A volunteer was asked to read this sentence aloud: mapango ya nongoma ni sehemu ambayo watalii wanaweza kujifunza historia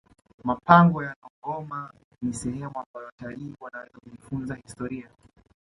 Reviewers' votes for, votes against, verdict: 2, 1, accepted